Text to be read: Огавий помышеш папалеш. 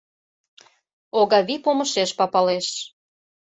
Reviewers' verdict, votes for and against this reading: accepted, 2, 0